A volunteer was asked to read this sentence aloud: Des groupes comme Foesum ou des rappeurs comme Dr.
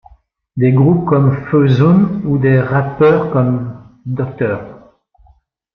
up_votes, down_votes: 2, 2